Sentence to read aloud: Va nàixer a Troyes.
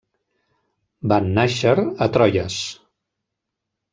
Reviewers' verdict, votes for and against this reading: rejected, 1, 2